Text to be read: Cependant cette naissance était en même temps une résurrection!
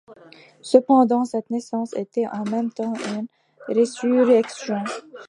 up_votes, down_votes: 2, 0